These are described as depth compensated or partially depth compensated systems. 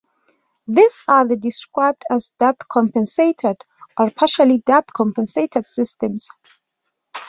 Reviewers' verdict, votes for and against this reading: accepted, 2, 1